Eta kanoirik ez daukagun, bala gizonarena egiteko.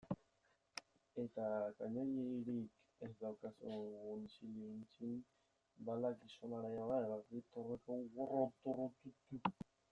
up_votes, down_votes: 0, 2